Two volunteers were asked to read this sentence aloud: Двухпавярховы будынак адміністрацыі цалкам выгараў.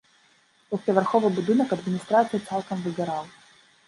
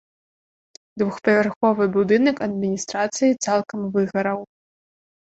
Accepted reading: second